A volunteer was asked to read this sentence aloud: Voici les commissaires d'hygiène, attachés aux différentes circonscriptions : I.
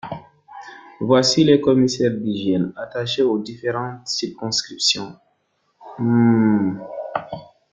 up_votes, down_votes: 1, 2